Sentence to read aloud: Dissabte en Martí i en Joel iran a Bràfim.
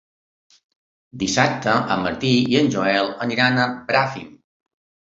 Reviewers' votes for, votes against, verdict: 0, 2, rejected